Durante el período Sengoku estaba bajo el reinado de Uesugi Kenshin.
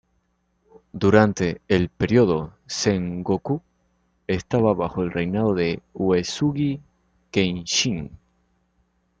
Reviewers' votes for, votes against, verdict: 2, 0, accepted